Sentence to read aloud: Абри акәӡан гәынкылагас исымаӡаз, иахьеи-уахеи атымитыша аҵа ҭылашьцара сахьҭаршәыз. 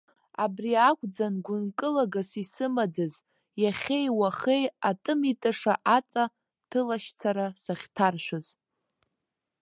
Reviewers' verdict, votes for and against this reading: accepted, 2, 0